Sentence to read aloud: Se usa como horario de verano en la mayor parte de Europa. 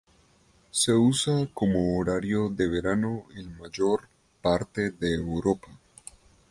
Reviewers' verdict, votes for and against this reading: rejected, 0, 2